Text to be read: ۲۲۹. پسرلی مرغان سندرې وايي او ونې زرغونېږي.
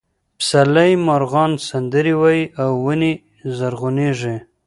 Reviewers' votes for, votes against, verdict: 0, 2, rejected